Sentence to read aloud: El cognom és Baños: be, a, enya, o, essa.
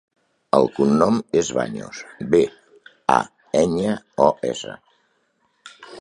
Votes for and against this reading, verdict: 3, 0, accepted